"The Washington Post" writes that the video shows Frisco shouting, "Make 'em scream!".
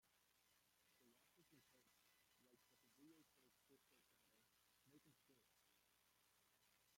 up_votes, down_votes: 0, 2